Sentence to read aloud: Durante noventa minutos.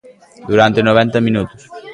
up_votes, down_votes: 1, 2